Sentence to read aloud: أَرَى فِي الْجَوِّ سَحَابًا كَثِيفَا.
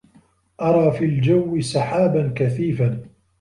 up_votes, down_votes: 2, 0